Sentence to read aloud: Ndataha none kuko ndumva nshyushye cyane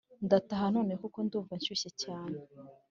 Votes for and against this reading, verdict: 3, 0, accepted